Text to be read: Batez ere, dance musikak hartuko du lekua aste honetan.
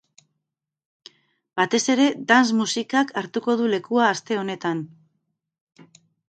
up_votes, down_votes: 4, 0